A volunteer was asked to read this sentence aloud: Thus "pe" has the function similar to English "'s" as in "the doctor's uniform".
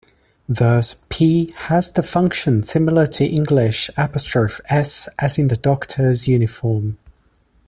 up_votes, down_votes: 0, 3